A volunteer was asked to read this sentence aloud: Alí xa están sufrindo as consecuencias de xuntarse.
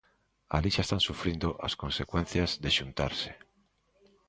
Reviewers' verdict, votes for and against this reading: accepted, 2, 0